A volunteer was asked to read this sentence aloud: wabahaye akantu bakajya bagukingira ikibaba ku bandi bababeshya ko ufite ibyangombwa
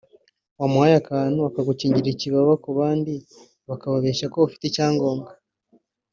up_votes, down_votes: 2, 0